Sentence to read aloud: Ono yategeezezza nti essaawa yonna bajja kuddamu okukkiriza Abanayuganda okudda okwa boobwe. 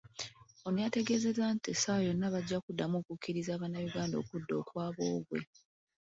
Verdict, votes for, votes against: accepted, 2, 1